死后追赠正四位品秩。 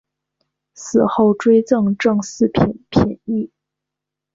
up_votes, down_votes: 2, 0